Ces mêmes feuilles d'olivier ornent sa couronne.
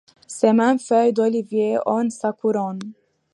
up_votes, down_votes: 2, 1